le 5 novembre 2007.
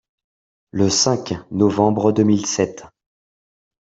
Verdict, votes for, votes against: rejected, 0, 2